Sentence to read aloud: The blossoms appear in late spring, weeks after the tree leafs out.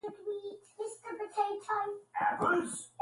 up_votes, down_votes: 0, 2